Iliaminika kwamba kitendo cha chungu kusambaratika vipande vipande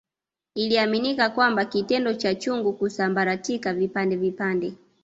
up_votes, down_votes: 2, 0